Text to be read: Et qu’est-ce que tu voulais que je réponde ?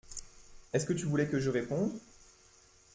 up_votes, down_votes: 1, 2